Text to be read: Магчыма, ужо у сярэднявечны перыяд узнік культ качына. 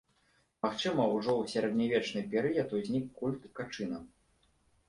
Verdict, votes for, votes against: accepted, 2, 0